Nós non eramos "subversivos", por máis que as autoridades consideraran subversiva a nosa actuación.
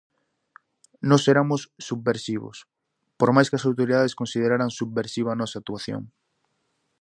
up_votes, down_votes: 0, 4